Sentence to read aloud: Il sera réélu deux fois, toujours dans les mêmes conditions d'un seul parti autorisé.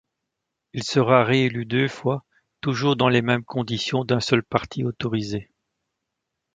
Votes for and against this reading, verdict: 2, 0, accepted